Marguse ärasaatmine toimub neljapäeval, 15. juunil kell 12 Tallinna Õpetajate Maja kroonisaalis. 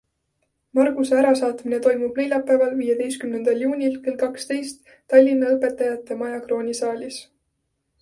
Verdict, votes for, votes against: rejected, 0, 2